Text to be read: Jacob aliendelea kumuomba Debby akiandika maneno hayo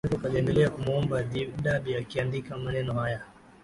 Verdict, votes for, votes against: rejected, 1, 2